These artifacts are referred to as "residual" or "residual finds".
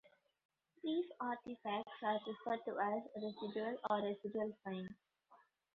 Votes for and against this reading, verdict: 2, 0, accepted